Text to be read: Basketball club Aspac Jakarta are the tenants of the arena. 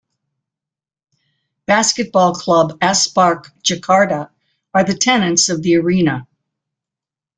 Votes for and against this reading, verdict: 1, 2, rejected